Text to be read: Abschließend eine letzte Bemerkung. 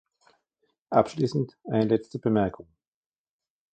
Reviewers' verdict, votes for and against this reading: rejected, 1, 2